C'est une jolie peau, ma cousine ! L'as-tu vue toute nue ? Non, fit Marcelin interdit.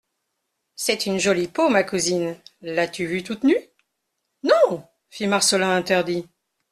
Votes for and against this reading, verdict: 2, 0, accepted